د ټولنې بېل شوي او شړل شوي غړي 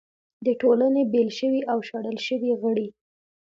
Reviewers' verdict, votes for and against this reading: accepted, 2, 0